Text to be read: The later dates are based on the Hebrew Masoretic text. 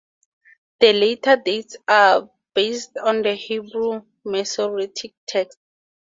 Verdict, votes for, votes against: accepted, 2, 0